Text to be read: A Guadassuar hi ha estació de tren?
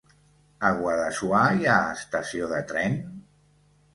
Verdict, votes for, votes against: accepted, 2, 0